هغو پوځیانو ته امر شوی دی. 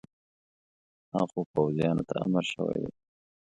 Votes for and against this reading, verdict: 2, 0, accepted